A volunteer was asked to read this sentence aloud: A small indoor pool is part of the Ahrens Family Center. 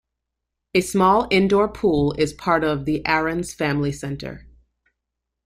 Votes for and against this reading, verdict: 2, 0, accepted